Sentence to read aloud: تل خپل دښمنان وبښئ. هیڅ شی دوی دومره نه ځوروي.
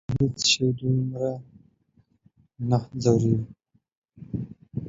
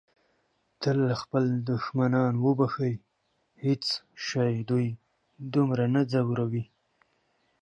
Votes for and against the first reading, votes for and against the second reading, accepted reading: 0, 2, 2, 1, second